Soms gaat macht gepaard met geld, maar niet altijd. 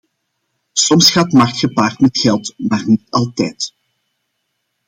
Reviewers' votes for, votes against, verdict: 2, 1, accepted